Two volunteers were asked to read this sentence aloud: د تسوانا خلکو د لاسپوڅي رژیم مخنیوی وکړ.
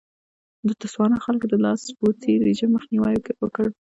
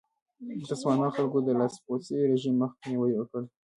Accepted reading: second